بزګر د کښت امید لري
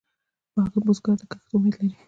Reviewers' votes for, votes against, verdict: 0, 2, rejected